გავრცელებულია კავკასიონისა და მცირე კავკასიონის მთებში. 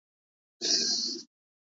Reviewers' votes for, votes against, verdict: 0, 2, rejected